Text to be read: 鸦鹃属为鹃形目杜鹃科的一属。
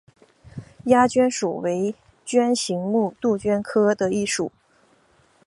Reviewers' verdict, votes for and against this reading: accepted, 8, 1